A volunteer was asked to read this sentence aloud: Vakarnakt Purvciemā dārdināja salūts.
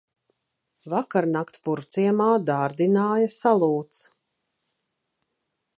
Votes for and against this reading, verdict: 2, 0, accepted